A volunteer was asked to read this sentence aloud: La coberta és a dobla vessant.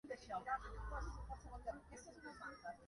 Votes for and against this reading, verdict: 0, 2, rejected